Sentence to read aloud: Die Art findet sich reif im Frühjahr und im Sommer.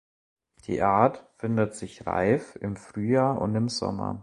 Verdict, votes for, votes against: accepted, 2, 0